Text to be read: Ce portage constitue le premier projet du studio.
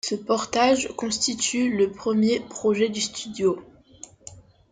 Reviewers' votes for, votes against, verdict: 2, 0, accepted